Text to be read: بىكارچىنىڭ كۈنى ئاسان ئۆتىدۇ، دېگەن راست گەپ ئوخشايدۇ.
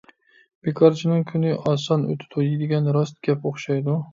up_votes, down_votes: 1, 2